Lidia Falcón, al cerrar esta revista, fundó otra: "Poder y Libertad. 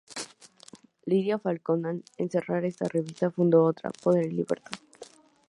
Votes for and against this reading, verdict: 0, 2, rejected